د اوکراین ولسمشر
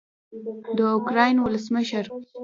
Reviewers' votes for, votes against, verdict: 2, 1, accepted